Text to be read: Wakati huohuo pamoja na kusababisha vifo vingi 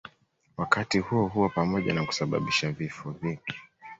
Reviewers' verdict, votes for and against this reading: accepted, 2, 0